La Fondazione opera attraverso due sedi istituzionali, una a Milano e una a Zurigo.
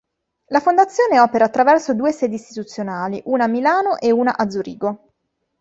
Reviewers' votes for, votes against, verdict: 2, 0, accepted